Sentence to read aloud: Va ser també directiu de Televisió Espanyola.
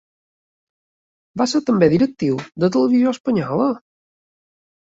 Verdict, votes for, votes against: accepted, 2, 0